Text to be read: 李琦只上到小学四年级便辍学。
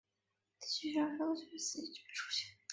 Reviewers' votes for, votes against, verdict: 2, 3, rejected